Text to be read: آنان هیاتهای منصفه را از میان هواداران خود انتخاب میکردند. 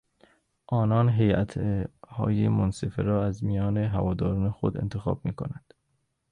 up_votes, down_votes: 0, 2